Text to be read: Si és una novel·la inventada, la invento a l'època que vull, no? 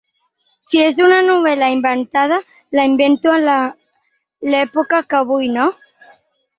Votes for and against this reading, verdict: 0, 4, rejected